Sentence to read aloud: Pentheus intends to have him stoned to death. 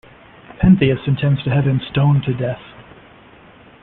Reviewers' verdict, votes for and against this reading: accepted, 2, 0